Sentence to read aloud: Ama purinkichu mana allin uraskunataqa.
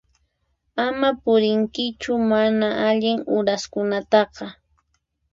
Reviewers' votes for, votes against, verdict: 4, 0, accepted